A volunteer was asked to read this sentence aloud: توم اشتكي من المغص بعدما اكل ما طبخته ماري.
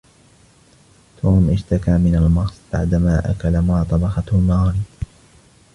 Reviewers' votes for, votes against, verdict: 1, 2, rejected